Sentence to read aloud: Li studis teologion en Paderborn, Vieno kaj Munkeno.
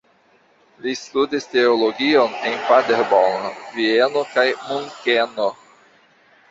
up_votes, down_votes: 2, 1